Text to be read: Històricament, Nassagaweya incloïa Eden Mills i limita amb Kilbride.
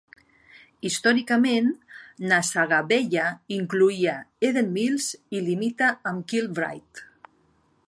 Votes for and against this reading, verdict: 2, 0, accepted